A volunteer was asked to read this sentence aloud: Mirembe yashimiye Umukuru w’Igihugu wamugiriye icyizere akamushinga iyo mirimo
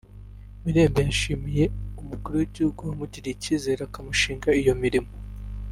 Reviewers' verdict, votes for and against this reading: rejected, 0, 2